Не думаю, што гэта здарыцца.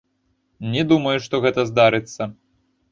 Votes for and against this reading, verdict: 1, 2, rejected